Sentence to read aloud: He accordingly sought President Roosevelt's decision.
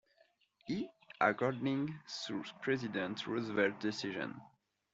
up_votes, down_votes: 0, 2